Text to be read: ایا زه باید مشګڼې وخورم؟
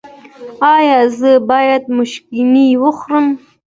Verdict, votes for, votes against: accepted, 2, 0